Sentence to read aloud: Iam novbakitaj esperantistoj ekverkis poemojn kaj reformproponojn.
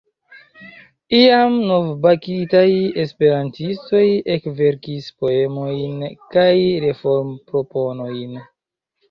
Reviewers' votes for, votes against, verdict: 2, 1, accepted